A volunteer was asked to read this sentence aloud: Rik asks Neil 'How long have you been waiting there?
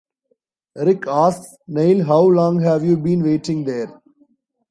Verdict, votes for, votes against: rejected, 0, 2